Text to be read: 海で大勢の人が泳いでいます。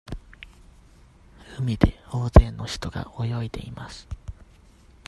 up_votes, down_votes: 2, 0